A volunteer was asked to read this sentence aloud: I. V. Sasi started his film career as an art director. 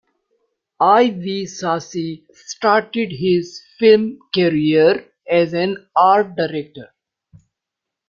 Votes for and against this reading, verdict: 2, 1, accepted